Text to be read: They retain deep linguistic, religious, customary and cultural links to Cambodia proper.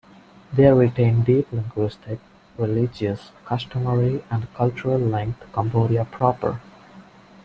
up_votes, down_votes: 0, 2